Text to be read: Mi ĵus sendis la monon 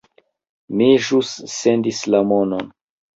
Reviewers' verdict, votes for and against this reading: rejected, 0, 2